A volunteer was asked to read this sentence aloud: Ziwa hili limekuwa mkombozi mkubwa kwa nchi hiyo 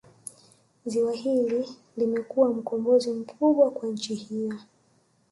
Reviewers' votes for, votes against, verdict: 0, 2, rejected